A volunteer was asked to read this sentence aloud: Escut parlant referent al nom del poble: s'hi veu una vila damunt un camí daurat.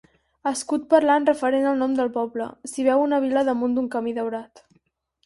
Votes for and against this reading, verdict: 4, 2, accepted